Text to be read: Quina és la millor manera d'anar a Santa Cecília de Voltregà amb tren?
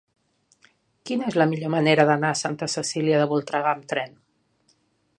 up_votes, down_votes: 3, 0